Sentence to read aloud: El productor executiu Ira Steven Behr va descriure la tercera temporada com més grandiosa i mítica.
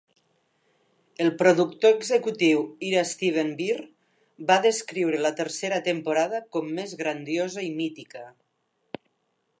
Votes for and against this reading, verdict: 3, 0, accepted